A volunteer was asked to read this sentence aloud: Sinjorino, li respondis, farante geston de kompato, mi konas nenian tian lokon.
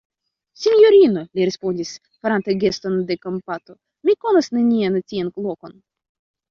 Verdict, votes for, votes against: rejected, 1, 2